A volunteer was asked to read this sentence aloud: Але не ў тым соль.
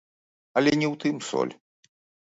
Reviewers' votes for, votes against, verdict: 0, 2, rejected